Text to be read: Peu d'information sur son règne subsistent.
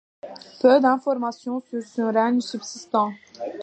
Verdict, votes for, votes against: rejected, 0, 2